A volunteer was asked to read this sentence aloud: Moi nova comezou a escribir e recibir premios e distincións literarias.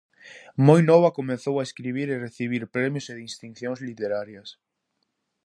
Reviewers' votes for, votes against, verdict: 2, 2, rejected